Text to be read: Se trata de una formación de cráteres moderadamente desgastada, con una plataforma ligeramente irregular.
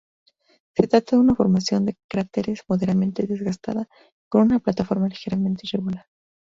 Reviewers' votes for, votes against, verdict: 0, 2, rejected